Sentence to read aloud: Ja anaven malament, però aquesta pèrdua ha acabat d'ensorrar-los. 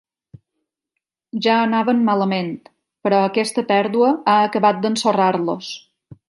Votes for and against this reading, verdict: 5, 0, accepted